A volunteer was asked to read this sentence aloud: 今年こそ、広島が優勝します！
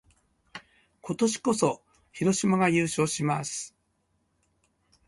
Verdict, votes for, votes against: accepted, 2, 0